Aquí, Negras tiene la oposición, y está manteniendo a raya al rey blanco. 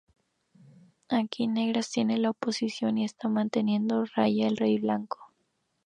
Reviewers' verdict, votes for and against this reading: rejected, 0, 2